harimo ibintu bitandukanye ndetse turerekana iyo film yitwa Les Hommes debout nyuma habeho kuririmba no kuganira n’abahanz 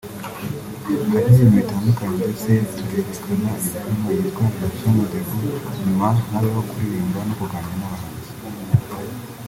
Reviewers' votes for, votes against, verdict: 1, 2, rejected